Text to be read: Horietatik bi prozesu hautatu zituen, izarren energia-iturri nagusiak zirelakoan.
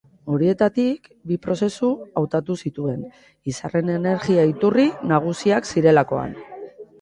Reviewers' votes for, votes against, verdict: 3, 0, accepted